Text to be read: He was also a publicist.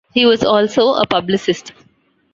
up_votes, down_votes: 2, 1